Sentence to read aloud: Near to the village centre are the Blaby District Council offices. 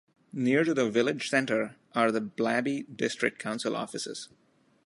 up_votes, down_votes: 2, 0